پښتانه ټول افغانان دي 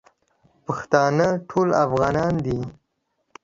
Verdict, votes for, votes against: accepted, 2, 0